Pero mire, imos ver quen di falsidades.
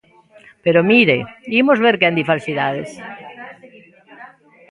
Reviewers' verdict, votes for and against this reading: accepted, 2, 0